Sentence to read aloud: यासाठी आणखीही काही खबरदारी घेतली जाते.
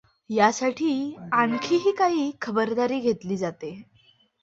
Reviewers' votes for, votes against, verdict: 2, 0, accepted